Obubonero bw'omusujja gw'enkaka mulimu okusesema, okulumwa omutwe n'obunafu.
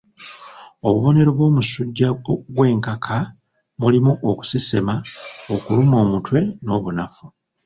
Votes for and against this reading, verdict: 1, 2, rejected